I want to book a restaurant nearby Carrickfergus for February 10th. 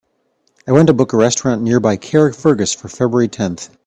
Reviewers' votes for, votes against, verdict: 0, 2, rejected